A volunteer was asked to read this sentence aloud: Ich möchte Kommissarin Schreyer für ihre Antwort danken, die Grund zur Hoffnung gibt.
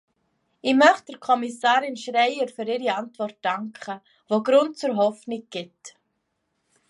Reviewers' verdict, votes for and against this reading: accepted, 2, 1